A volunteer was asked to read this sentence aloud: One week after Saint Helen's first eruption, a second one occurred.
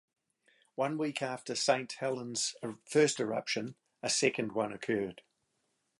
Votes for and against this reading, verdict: 0, 2, rejected